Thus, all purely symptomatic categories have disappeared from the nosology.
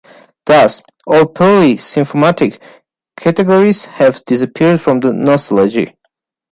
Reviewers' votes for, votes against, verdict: 1, 2, rejected